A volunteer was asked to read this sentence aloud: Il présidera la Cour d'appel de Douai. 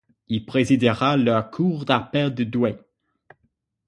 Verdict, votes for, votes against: rejected, 3, 6